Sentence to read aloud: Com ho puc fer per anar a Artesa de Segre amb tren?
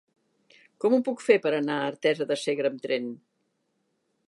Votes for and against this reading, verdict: 2, 0, accepted